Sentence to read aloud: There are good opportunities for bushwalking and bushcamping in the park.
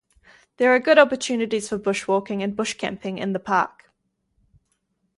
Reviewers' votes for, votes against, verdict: 4, 0, accepted